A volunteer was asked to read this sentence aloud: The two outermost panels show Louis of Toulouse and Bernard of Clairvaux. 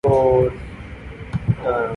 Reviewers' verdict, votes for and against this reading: rejected, 0, 2